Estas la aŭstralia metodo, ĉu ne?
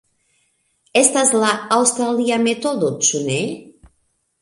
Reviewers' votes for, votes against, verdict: 2, 0, accepted